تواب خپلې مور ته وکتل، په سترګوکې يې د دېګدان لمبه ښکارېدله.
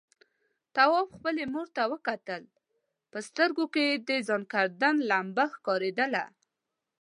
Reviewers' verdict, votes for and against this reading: rejected, 1, 2